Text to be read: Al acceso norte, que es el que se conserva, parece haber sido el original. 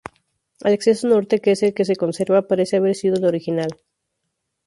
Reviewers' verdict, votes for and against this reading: rejected, 0, 2